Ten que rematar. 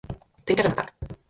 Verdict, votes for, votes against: rejected, 2, 4